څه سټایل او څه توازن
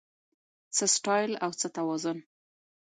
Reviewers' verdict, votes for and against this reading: accepted, 2, 0